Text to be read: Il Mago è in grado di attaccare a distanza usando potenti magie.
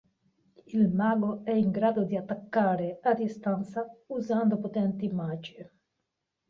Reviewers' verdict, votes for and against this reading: accepted, 2, 1